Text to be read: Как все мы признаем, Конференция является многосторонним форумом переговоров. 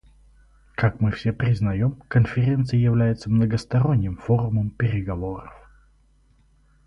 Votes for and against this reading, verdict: 2, 2, rejected